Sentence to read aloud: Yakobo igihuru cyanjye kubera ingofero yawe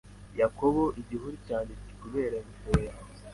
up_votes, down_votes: 2, 0